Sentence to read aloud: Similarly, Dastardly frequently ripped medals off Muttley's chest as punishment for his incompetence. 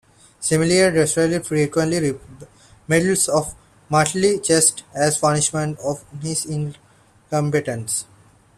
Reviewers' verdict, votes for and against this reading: rejected, 0, 2